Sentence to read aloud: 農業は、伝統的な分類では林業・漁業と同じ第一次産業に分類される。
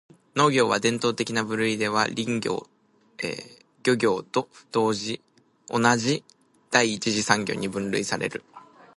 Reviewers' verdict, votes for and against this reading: rejected, 1, 3